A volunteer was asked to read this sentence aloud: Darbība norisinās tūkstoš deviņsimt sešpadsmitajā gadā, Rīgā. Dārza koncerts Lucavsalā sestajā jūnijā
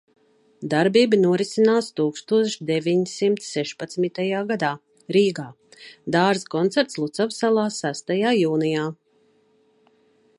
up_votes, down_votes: 2, 0